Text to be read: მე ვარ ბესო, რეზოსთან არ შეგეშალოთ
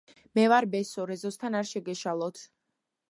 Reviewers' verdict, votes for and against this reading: accepted, 2, 1